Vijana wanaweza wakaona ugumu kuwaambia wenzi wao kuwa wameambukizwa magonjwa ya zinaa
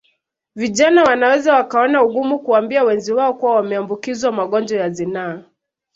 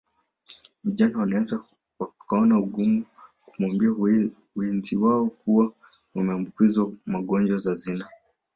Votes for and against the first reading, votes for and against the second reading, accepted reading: 2, 1, 1, 2, first